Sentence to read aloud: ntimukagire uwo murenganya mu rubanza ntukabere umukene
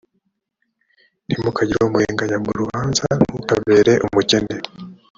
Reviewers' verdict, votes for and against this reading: rejected, 0, 2